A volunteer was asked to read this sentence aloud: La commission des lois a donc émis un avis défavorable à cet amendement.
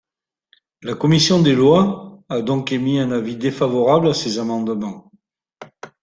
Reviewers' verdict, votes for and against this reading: rejected, 1, 2